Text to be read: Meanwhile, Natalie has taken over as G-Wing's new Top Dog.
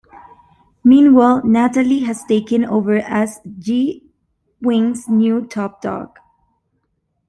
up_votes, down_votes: 2, 0